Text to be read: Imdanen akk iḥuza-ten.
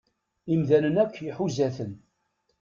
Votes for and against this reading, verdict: 2, 0, accepted